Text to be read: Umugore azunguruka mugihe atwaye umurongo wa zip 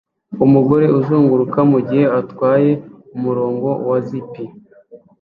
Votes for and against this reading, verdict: 2, 0, accepted